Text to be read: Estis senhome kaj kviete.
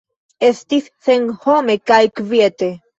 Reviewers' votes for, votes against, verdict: 2, 0, accepted